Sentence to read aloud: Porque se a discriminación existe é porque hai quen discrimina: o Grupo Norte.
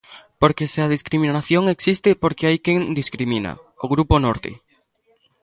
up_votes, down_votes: 2, 1